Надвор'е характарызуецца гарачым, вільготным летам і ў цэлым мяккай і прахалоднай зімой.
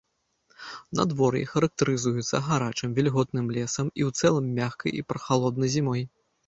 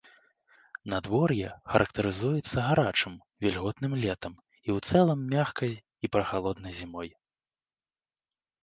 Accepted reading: second